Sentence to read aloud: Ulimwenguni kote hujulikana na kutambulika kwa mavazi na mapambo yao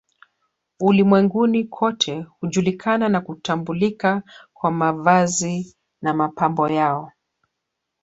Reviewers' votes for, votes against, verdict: 0, 2, rejected